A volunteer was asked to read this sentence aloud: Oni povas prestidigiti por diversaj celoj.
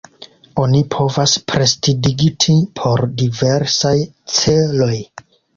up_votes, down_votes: 2, 1